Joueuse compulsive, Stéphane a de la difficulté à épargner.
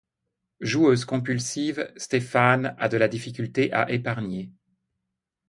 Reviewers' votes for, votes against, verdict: 2, 0, accepted